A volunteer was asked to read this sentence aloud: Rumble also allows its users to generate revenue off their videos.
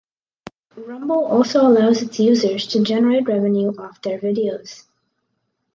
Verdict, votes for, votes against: accepted, 2, 0